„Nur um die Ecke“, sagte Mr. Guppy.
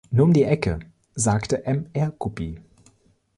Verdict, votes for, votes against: rejected, 1, 2